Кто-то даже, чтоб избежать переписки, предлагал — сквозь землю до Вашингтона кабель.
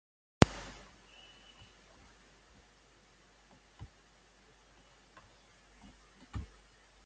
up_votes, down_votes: 0, 2